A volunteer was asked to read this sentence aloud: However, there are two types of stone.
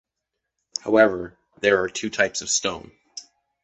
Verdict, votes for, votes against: accepted, 2, 0